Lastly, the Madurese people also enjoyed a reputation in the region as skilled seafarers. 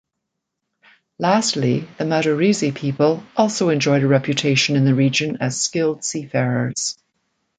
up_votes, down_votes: 2, 0